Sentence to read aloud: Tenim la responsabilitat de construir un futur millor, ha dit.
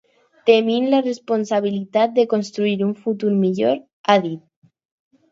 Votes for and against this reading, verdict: 4, 0, accepted